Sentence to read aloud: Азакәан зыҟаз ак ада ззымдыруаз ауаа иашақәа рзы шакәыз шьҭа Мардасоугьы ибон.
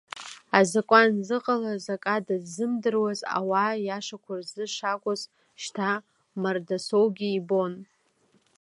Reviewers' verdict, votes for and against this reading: rejected, 0, 2